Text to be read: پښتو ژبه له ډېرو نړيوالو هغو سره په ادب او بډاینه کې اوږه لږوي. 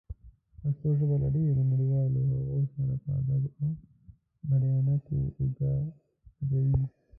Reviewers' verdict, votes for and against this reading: rejected, 1, 2